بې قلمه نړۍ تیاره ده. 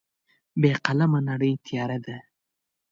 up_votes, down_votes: 2, 0